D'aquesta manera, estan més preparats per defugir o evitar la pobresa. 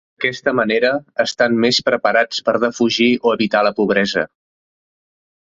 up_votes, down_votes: 0, 2